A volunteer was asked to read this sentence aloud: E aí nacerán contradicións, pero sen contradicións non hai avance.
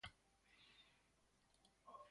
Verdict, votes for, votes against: rejected, 0, 2